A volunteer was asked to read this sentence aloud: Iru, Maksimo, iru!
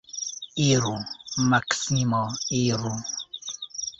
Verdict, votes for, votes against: rejected, 1, 2